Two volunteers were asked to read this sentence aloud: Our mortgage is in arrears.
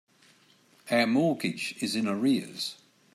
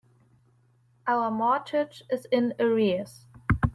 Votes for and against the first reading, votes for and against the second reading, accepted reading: 2, 0, 1, 2, first